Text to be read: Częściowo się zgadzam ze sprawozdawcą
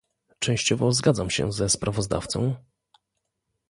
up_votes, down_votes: 0, 2